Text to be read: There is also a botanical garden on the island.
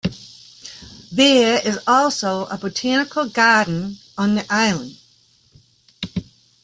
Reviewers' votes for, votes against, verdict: 2, 0, accepted